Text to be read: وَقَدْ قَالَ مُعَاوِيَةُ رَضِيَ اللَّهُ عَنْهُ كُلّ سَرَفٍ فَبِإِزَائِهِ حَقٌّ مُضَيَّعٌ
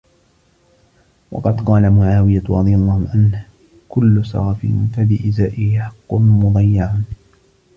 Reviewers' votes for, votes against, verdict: 0, 2, rejected